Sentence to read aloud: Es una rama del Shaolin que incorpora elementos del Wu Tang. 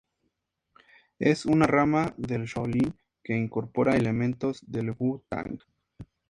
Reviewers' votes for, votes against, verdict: 2, 0, accepted